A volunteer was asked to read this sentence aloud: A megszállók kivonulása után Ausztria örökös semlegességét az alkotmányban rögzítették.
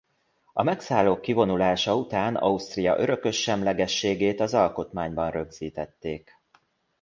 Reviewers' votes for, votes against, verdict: 2, 0, accepted